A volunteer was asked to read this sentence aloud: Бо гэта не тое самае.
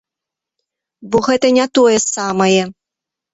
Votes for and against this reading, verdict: 2, 0, accepted